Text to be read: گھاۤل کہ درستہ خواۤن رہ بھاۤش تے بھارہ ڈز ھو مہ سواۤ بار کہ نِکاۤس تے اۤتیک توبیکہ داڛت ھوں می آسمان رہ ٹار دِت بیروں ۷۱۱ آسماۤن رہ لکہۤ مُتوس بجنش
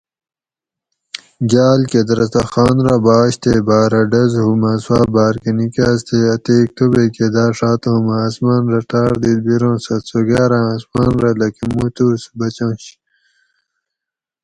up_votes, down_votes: 0, 2